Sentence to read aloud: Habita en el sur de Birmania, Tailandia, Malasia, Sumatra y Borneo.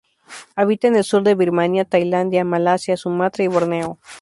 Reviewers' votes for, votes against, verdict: 2, 0, accepted